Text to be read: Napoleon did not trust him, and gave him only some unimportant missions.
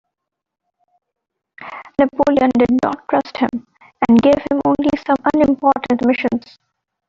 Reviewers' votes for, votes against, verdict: 2, 0, accepted